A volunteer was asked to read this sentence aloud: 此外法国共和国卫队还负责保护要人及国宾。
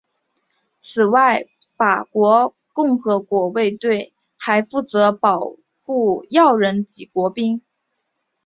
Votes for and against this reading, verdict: 1, 2, rejected